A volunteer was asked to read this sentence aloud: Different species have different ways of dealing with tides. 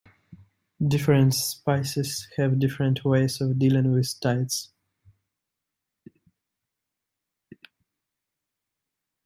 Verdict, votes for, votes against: rejected, 0, 2